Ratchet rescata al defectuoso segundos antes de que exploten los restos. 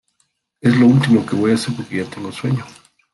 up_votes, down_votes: 0, 2